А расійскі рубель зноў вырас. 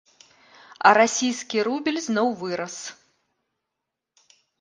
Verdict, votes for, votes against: rejected, 0, 2